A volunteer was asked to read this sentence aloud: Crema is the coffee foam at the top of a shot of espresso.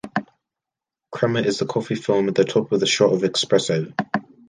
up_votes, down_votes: 1, 2